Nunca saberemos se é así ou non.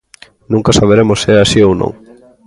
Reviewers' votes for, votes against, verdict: 2, 0, accepted